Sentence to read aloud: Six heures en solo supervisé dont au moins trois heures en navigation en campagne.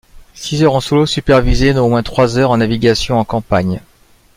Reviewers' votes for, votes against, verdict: 2, 0, accepted